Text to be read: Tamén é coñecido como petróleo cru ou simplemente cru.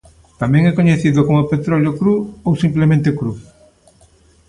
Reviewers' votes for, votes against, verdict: 2, 0, accepted